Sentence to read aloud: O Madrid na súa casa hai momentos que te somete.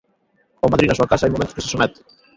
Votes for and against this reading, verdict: 0, 2, rejected